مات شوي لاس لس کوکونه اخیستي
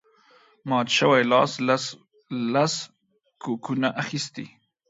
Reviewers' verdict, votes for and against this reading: rejected, 0, 2